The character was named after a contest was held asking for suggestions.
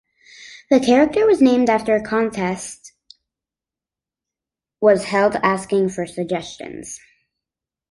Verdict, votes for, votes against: rejected, 1, 2